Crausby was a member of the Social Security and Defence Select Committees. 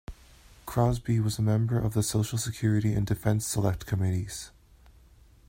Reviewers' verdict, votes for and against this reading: accepted, 2, 1